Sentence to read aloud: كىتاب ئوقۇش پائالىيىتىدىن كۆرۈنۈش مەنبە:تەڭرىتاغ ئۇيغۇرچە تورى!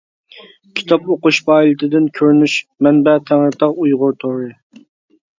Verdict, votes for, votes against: rejected, 0, 2